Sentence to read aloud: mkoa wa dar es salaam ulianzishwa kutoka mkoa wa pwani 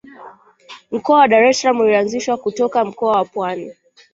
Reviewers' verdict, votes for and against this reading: accepted, 2, 1